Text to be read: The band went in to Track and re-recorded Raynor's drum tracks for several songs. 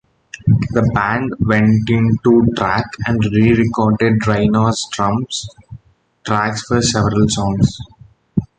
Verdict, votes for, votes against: rejected, 1, 2